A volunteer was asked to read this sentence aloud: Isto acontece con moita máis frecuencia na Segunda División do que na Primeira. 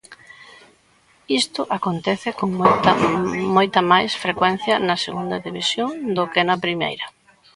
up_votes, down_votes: 0, 2